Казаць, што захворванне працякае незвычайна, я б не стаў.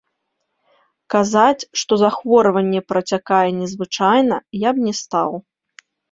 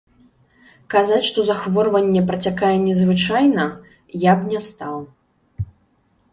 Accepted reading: first